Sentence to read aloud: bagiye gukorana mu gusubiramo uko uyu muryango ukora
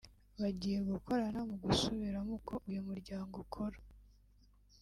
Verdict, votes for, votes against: rejected, 1, 2